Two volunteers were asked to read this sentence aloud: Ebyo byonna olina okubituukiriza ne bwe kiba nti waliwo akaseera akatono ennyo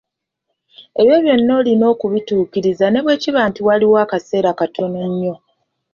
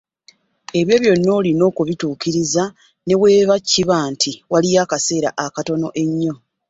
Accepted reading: first